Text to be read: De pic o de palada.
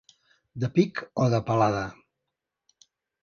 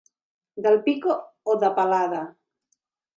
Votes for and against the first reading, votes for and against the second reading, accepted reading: 2, 0, 0, 2, first